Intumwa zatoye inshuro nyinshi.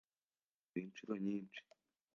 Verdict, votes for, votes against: rejected, 0, 2